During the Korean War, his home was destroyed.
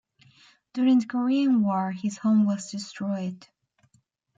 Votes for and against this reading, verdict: 2, 0, accepted